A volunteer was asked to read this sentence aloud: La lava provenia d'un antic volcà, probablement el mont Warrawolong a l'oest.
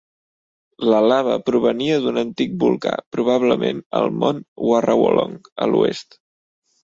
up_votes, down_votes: 2, 0